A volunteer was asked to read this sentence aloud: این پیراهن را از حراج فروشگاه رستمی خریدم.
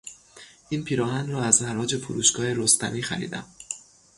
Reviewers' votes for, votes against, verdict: 3, 0, accepted